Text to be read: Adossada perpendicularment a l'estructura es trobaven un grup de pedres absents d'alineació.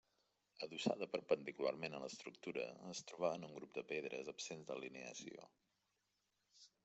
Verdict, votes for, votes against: accepted, 3, 1